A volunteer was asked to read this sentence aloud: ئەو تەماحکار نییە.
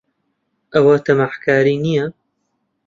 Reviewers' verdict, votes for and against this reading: rejected, 1, 2